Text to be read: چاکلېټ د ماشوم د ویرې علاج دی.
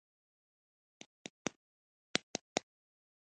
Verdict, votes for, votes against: rejected, 1, 2